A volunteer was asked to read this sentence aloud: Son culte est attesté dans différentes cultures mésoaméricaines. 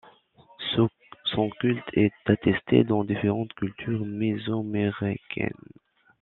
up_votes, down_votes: 0, 3